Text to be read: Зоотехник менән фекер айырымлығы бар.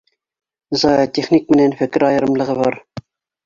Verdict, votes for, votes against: accepted, 2, 0